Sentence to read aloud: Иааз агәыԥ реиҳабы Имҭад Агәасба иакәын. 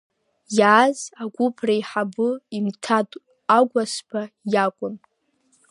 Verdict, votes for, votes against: accepted, 2, 0